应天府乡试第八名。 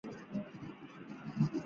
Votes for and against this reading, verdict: 1, 2, rejected